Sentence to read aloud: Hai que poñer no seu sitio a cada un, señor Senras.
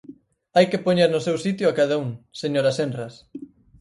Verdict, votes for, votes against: rejected, 0, 4